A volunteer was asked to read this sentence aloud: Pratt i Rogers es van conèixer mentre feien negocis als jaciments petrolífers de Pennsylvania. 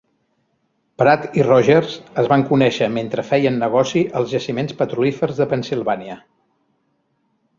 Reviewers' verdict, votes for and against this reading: rejected, 0, 2